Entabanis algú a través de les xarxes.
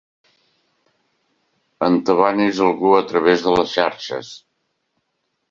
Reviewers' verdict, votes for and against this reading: accepted, 3, 0